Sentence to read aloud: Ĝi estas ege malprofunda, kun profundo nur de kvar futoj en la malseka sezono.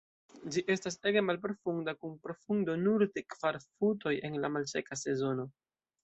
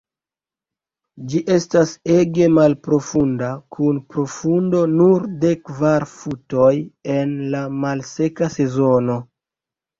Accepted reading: second